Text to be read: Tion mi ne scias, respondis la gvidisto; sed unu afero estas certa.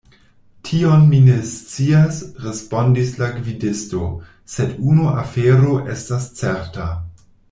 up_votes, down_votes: 2, 0